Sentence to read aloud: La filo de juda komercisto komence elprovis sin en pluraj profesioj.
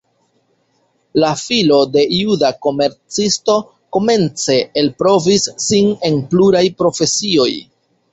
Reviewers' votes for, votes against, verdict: 2, 0, accepted